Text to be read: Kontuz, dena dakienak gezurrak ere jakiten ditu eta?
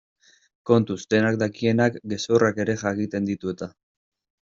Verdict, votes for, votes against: accepted, 2, 0